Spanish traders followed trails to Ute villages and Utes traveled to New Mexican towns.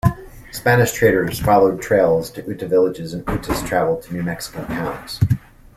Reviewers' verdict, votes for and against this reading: accepted, 2, 0